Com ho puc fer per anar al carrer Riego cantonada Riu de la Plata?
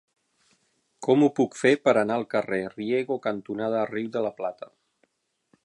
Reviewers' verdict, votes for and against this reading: rejected, 3, 6